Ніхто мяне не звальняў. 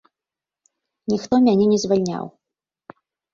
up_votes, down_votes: 2, 0